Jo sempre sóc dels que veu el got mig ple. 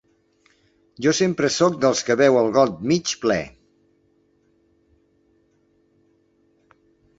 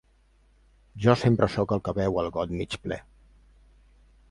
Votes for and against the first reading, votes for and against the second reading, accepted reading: 2, 0, 1, 2, first